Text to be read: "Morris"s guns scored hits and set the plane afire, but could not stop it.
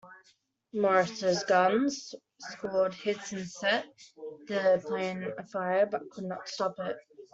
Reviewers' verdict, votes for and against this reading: rejected, 1, 2